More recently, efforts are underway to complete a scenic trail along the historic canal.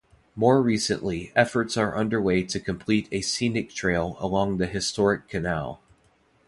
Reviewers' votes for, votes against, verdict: 2, 0, accepted